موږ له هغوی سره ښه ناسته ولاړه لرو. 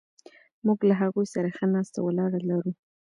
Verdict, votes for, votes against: accepted, 2, 0